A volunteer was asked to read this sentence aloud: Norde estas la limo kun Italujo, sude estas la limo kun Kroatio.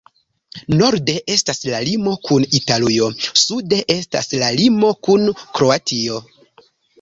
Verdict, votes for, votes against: rejected, 0, 2